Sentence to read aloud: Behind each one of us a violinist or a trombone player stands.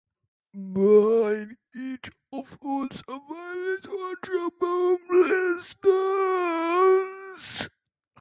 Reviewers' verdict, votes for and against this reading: rejected, 0, 2